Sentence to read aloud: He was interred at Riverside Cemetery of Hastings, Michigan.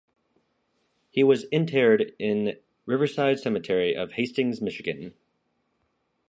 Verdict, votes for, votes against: rejected, 0, 2